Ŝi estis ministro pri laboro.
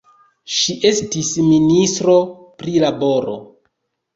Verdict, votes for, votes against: rejected, 1, 2